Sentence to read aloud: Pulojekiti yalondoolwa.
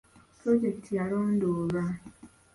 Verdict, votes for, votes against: accepted, 2, 0